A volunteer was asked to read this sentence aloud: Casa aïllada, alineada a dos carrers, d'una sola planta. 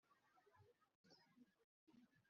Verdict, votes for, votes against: rejected, 0, 2